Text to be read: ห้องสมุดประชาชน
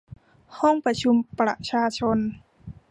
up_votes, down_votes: 0, 2